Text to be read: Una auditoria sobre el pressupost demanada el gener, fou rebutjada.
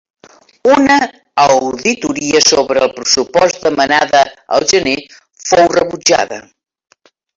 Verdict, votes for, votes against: accepted, 2, 0